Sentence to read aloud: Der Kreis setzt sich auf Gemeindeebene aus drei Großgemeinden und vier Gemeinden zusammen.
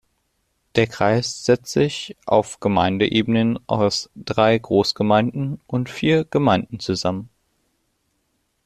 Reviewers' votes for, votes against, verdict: 0, 2, rejected